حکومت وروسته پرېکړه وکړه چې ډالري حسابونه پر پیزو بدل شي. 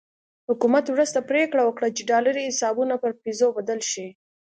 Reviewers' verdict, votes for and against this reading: accepted, 2, 0